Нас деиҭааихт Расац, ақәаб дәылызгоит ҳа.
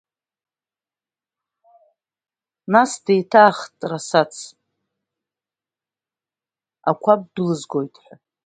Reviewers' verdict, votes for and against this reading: accepted, 2, 0